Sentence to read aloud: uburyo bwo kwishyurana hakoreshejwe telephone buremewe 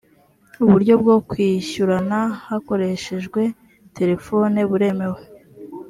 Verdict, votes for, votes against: accepted, 2, 0